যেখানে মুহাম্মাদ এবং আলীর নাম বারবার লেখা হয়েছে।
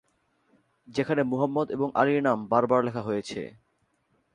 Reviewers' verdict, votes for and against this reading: rejected, 2, 3